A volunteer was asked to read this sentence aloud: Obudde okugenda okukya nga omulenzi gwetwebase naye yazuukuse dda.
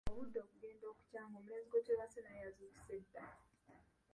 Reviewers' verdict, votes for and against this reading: rejected, 0, 2